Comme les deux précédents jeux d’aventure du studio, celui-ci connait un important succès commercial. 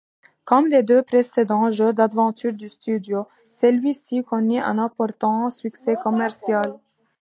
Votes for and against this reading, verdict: 2, 0, accepted